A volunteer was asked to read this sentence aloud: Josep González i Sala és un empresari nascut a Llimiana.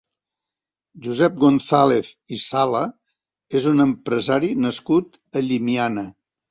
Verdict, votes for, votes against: accepted, 3, 0